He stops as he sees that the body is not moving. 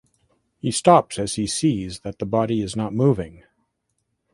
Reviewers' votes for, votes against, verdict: 2, 0, accepted